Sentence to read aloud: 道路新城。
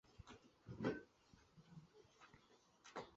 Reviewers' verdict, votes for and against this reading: rejected, 0, 3